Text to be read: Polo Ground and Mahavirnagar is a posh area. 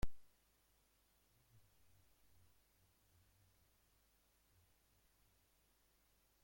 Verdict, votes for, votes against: rejected, 0, 2